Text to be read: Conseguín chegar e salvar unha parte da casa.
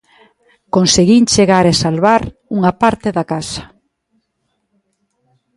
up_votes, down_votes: 2, 0